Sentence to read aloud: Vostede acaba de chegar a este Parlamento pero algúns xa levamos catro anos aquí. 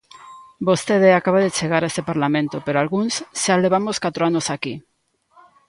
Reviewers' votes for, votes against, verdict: 2, 0, accepted